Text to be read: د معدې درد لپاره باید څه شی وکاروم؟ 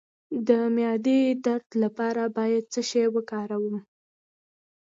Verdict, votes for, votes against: accepted, 2, 0